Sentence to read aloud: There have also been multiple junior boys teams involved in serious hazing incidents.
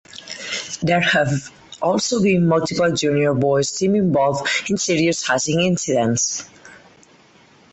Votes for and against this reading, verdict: 0, 4, rejected